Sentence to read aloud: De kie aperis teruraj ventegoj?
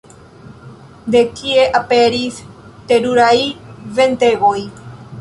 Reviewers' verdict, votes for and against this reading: accepted, 2, 1